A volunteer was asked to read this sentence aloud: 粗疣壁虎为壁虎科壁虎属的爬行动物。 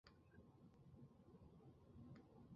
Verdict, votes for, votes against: rejected, 0, 3